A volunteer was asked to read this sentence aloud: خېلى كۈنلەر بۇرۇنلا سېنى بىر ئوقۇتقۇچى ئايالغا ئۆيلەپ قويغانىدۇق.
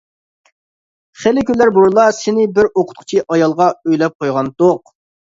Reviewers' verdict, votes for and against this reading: rejected, 0, 2